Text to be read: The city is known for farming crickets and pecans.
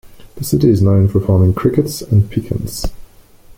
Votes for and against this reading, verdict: 2, 0, accepted